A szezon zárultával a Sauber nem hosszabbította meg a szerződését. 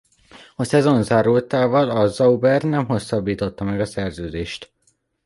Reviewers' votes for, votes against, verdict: 0, 2, rejected